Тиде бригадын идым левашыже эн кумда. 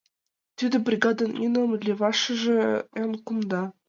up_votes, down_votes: 0, 2